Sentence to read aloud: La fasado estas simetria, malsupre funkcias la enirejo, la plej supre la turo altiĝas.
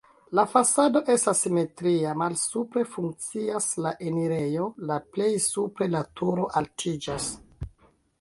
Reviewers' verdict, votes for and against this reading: rejected, 1, 2